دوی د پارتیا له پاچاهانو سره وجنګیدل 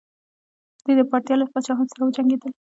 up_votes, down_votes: 1, 2